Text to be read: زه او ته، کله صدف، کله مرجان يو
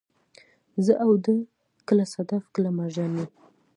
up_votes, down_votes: 2, 0